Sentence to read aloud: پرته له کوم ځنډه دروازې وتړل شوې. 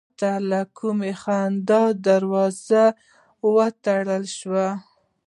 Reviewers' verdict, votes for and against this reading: rejected, 0, 3